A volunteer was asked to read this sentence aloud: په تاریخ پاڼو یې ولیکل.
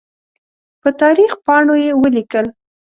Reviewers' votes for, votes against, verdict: 2, 0, accepted